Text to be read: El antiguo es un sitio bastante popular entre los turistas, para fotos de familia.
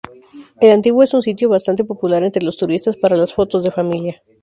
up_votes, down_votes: 0, 2